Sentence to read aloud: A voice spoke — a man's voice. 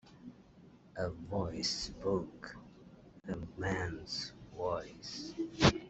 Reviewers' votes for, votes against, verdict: 2, 0, accepted